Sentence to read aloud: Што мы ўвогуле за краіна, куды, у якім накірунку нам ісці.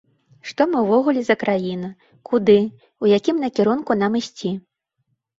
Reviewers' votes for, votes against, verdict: 2, 0, accepted